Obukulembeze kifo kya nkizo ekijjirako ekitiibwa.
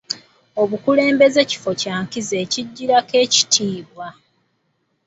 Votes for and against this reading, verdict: 2, 1, accepted